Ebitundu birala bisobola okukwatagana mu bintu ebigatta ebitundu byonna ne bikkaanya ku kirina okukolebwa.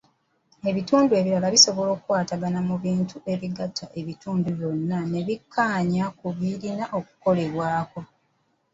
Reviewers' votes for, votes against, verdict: 1, 2, rejected